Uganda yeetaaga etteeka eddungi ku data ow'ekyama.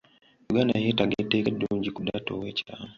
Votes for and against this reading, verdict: 0, 2, rejected